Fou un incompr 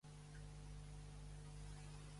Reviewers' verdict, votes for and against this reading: rejected, 0, 3